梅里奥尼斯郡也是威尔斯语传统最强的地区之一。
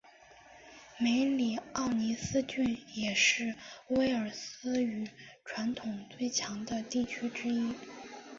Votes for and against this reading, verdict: 2, 0, accepted